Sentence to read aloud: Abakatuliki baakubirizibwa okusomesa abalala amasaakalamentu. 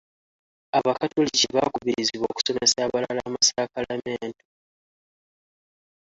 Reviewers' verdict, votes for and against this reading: rejected, 0, 2